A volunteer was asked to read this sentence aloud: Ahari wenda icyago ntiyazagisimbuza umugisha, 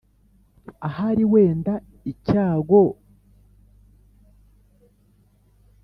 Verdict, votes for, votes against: rejected, 0, 2